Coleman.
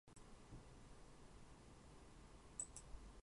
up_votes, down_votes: 0, 6